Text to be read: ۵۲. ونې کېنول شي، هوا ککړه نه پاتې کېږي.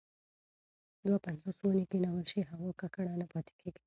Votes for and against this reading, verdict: 0, 2, rejected